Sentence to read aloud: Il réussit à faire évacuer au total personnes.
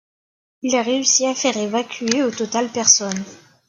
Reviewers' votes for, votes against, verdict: 2, 0, accepted